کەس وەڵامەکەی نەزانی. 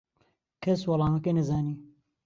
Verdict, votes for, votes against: accepted, 2, 0